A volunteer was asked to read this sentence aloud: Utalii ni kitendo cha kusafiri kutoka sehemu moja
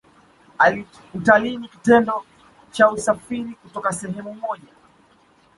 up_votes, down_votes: 0, 2